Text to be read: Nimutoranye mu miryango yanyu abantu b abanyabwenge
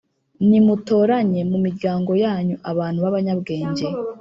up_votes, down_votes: 2, 0